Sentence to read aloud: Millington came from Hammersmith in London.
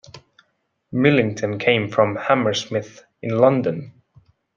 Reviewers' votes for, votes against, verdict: 2, 0, accepted